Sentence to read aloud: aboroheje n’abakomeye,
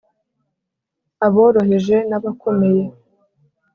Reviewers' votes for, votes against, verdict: 3, 0, accepted